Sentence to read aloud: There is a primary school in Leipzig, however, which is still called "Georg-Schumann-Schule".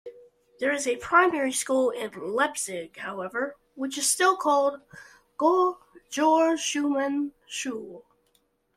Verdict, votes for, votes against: rejected, 0, 2